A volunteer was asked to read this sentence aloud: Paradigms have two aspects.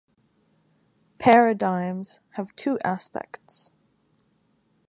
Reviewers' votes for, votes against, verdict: 2, 0, accepted